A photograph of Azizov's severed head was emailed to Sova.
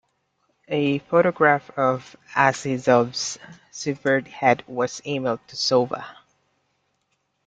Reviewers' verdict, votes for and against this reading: accepted, 2, 1